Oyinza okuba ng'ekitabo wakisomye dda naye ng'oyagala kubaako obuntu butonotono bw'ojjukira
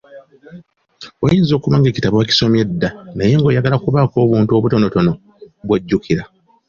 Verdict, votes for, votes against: accepted, 2, 0